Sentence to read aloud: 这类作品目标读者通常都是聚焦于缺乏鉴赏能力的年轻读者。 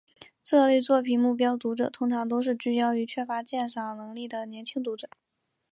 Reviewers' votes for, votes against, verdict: 2, 0, accepted